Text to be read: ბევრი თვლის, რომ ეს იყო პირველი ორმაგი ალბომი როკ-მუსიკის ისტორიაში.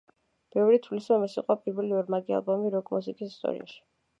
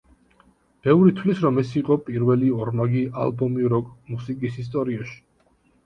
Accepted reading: second